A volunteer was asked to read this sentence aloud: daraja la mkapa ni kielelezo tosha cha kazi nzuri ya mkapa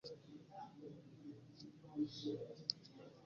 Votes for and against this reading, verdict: 1, 2, rejected